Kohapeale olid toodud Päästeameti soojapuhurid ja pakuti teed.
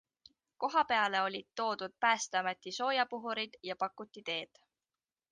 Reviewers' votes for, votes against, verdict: 2, 0, accepted